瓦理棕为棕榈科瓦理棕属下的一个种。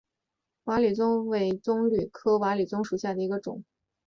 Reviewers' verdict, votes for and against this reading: accepted, 3, 0